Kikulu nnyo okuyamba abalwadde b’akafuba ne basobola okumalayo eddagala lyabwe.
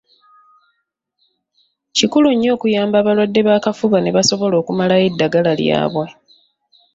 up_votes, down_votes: 2, 0